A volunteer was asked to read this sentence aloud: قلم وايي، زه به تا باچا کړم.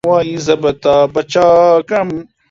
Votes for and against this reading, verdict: 0, 2, rejected